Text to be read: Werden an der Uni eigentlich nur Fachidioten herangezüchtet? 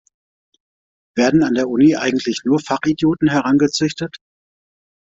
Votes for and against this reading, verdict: 2, 0, accepted